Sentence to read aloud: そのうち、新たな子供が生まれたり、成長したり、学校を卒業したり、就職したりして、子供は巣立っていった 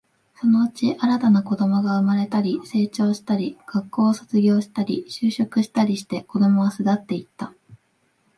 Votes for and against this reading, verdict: 2, 0, accepted